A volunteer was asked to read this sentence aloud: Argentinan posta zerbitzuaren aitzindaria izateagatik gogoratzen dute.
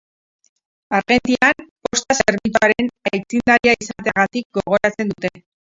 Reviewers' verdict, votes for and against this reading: rejected, 0, 2